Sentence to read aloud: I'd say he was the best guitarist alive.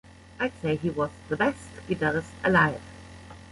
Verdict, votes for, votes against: accepted, 2, 0